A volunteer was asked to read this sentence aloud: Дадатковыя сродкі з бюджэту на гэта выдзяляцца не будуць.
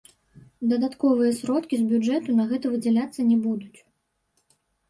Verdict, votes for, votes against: rejected, 1, 2